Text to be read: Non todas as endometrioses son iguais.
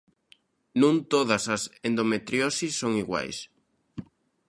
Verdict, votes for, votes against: rejected, 1, 2